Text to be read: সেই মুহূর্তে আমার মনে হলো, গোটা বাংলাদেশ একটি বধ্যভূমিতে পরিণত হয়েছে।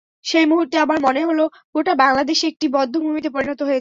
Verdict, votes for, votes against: rejected, 0, 2